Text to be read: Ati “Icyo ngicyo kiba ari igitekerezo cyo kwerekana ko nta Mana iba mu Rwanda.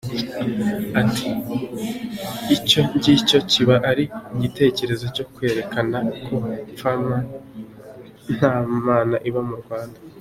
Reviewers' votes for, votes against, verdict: 1, 2, rejected